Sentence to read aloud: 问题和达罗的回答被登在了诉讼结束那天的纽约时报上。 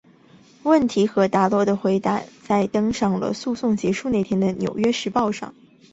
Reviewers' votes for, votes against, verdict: 4, 2, accepted